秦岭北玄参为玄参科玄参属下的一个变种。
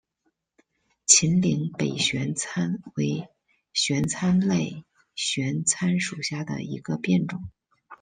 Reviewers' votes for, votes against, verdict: 0, 2, rejected